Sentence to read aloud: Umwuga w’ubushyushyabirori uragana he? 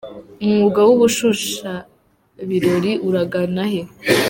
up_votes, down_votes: 0, 2